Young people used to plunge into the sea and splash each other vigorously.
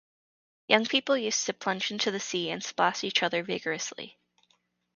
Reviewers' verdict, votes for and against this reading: rejected, 0, 2